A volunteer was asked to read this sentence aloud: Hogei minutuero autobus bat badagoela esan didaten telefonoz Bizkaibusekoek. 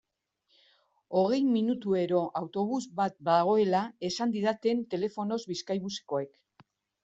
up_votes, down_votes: 2, 0